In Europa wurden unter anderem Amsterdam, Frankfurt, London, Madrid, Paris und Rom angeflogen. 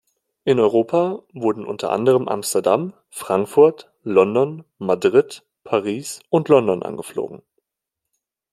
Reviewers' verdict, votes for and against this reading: rejected, 1, 2